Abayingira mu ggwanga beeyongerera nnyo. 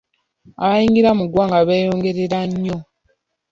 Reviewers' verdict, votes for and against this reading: accepted, 2, 0